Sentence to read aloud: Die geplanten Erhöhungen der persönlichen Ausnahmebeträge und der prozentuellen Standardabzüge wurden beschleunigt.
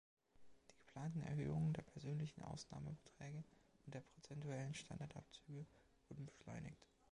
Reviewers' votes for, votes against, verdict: 1, 2, rejected